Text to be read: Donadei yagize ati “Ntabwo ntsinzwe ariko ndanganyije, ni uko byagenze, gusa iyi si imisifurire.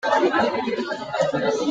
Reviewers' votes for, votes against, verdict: 0, 2, rejected